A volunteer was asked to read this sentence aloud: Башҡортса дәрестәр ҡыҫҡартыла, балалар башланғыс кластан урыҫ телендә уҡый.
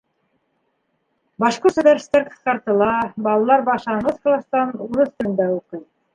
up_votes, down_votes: 2, 1